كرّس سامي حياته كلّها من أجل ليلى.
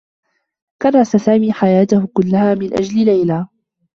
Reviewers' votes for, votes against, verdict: 0, 2, rejected